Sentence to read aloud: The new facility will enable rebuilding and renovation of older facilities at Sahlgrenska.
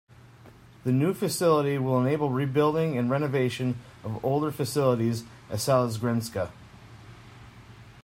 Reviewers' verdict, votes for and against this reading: rejected, 1, 2